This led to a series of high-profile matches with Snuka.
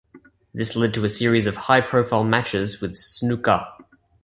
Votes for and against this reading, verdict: 2, 0, accepted